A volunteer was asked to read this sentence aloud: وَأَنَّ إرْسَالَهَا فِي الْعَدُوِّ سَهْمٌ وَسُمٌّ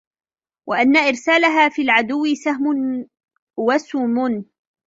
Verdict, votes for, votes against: rejected, 1, 2